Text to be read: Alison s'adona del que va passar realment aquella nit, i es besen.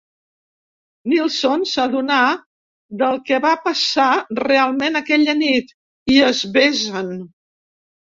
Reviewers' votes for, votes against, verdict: 0, 2, rejected